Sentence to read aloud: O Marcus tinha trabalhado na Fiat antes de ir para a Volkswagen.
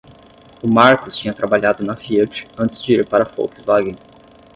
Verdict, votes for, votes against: accepted, 10, 0